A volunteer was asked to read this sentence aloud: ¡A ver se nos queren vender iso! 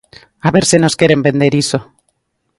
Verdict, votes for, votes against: accepted, 2, 0